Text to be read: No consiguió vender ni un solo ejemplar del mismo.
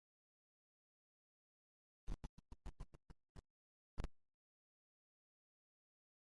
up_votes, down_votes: 0, 2